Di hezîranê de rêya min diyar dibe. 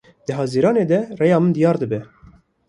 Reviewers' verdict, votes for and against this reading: rejected, 1, 2